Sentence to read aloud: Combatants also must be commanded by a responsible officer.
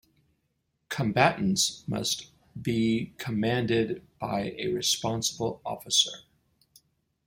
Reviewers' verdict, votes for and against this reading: rejected, 1, 2